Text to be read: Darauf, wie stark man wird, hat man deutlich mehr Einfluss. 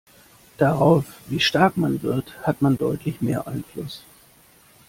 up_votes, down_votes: 2, 0